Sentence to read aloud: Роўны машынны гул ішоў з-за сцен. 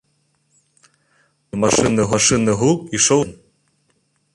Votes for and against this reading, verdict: 0, 2, rejected